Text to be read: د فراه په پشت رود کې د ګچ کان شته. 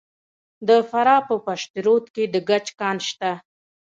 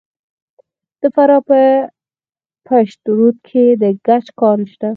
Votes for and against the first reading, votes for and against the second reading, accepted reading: 2, 1, 0, 4, first